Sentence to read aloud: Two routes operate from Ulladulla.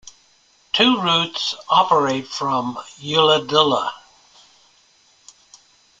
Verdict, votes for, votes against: accepted, 2, 0